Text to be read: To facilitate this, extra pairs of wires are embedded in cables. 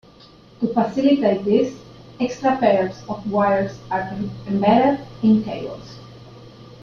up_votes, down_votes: 1, 2